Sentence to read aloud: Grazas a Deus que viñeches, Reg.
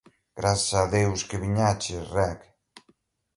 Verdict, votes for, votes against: accepted, 2, 1